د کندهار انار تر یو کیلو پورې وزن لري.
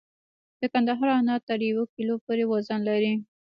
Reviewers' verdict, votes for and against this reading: accepted, 2, 1